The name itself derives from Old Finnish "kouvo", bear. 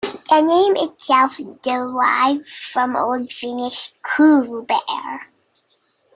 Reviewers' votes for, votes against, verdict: 0, 2, rejected